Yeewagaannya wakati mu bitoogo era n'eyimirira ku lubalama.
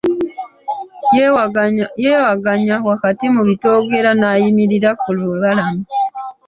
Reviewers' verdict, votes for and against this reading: rejected, 1, 2